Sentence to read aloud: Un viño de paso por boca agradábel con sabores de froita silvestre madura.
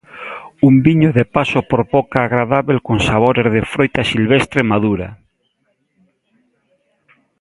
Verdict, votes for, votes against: accepted, 2, 0